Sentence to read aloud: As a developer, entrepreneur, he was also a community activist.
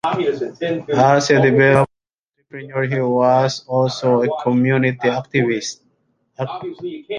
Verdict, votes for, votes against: rejected, 0, 2